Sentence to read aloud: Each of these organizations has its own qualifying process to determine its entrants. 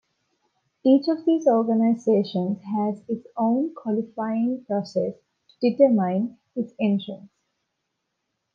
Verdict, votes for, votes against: accepted, 2, 0